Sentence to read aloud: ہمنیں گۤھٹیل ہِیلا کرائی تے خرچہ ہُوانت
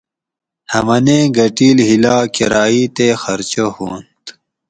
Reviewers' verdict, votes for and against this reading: accepted, 4, 0